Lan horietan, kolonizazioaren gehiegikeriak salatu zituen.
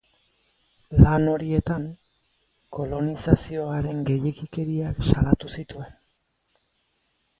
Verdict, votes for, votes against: accepted, 2, 0